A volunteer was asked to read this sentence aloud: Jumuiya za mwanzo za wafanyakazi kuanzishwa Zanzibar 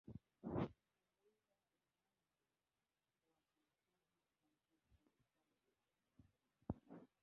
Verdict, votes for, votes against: rejected, 0, 2